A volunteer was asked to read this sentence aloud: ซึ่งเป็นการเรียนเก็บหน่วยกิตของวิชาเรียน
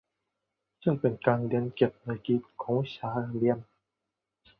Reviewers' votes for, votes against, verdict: 1, 2, rejected